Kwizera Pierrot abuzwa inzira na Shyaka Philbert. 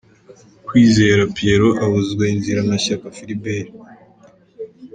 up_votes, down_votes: 1, 2